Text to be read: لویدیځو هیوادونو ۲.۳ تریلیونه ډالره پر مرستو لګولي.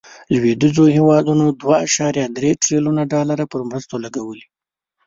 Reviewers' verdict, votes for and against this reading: rejected, 0, 2